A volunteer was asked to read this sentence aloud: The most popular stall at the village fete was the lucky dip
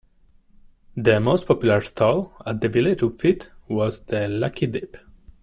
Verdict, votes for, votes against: rejected, 1, 2